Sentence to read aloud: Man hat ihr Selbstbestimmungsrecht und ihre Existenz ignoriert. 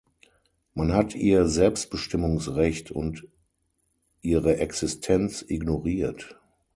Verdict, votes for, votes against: accepted, 6, 0